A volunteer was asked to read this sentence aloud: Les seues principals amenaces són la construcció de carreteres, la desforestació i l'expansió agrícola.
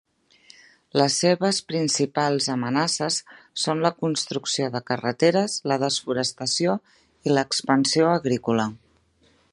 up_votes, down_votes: 0, 2